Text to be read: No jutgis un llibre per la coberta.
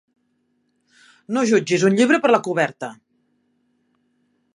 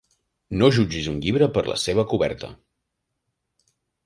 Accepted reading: first